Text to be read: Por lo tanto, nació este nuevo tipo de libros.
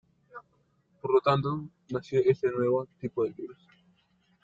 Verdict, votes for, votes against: rejected, 1, 2